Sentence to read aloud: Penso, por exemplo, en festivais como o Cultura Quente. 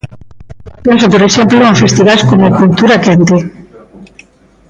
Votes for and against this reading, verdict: 0, 2, rejected